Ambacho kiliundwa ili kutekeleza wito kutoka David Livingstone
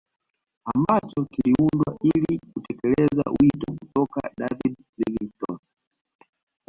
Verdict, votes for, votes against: rejected, 2, 3